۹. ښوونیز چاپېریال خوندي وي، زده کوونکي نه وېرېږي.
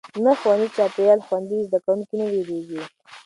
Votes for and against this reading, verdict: 0, 2, rejected